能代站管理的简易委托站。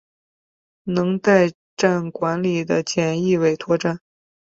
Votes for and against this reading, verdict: 5, 0, accepted